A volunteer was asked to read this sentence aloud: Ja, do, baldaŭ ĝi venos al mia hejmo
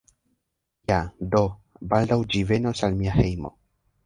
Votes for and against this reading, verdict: 0, 2, rejected